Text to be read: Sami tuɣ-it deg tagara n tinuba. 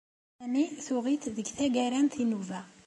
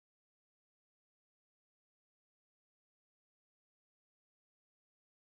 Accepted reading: first